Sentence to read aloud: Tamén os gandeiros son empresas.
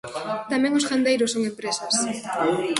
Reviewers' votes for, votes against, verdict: 0, 2, rejected